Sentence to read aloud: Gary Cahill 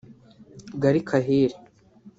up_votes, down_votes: 0, 2